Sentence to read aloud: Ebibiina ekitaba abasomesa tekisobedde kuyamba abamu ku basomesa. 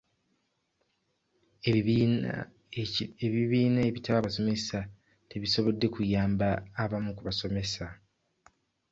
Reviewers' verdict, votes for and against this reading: rejected, 1, 2